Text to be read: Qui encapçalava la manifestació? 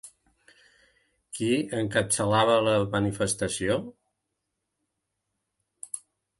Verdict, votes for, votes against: rejected, 2, 3